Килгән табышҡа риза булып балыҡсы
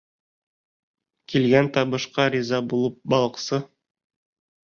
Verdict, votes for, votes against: rejected, 1, 2